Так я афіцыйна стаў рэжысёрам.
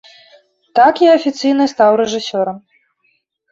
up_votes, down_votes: 2, 0